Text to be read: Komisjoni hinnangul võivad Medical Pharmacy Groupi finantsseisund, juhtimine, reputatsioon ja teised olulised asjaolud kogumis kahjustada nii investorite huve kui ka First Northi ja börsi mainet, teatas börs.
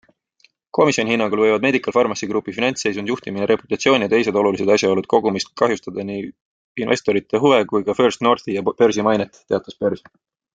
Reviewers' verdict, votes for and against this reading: accepted, 2, 0